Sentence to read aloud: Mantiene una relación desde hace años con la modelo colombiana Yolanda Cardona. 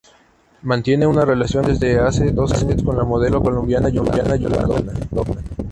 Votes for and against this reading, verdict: 0, 2, rejected